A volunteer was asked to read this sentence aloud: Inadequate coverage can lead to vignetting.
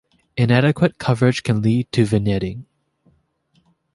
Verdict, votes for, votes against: accepted, 2, 0